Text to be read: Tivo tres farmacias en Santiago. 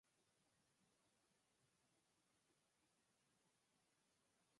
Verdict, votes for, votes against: rejected, 0, 4